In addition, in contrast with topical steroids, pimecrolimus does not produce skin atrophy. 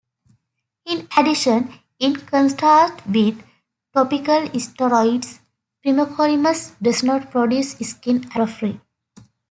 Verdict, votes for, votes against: rejected, 1, 2